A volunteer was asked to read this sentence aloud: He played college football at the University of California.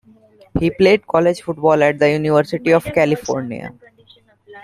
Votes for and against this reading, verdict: 0, 2, rejected